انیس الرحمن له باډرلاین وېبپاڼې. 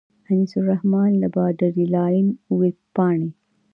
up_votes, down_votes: 2, 0